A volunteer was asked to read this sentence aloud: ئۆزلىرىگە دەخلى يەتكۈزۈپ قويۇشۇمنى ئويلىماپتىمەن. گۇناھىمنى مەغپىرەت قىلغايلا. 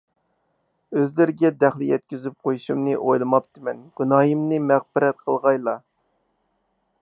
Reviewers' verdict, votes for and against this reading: accepted, 4, 0